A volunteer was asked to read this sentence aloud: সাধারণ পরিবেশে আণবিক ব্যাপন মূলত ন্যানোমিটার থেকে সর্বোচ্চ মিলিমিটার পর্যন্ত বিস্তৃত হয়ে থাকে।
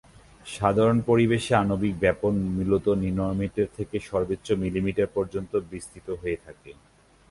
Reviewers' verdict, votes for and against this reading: rejected, 1, 3